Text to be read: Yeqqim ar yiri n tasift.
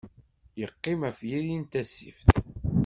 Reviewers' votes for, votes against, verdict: 1, 2, rejected